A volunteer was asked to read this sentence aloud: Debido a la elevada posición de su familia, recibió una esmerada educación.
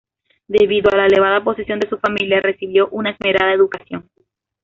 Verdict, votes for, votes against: accepted, 2, 0